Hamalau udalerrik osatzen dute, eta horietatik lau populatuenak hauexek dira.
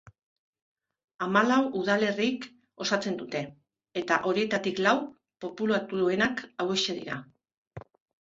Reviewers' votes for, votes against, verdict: 3, 0, accepted